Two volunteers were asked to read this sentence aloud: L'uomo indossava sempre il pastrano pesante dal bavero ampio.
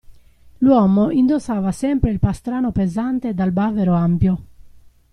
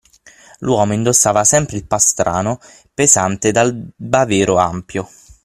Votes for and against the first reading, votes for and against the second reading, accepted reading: 2, 0, 6, 9, first